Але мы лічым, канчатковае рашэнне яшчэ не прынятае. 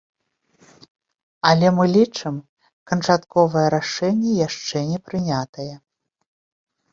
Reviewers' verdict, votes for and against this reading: accepted, 2, 0